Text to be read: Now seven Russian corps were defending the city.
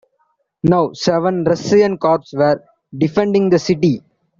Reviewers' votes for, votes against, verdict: 1, 2, rejected